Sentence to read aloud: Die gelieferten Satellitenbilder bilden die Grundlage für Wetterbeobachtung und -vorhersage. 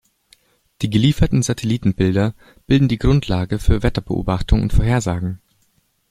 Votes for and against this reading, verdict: 0, 2, rejected